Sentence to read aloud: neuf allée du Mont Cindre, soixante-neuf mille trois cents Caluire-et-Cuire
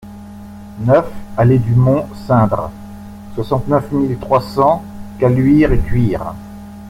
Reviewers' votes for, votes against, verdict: 2, 0, accepted